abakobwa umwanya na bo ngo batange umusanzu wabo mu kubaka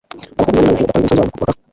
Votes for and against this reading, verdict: 1, 2, rejected